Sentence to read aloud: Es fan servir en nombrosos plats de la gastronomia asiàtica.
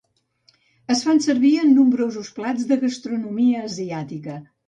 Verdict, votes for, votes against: rejected, 0, 2